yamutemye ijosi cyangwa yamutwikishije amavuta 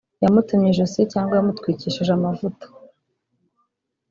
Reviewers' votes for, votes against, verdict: 2, 0, accepted